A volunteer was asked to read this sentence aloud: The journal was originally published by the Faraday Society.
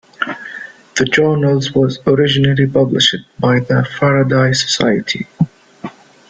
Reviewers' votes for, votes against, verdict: 1, 2, rejected